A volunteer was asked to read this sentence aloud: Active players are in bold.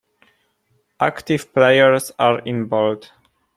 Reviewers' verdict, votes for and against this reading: accepted, 2, 0